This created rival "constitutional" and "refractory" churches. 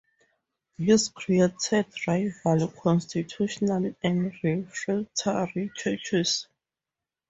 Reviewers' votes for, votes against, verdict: 0, 4, rejected